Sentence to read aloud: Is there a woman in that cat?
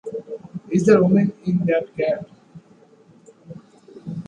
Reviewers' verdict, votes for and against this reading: accepted, 2, 0